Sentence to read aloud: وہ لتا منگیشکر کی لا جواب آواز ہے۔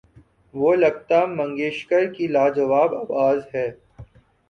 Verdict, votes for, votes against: accepted, 2, 1